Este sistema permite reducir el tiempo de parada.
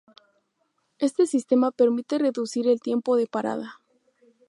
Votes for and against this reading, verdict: 2, 0, accepted